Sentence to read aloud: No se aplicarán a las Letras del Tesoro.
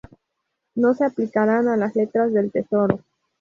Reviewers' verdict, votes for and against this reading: accepted, 2, 0